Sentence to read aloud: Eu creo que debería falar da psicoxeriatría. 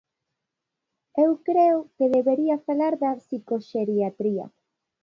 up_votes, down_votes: 2, 0